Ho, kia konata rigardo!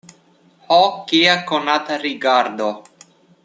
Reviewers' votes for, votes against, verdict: 2, 0, accepted